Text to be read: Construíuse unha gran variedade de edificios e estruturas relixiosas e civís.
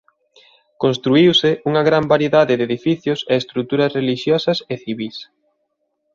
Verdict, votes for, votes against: accepted, 2, 0